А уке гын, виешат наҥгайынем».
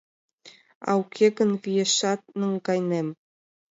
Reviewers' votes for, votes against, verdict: 2, 0, accepted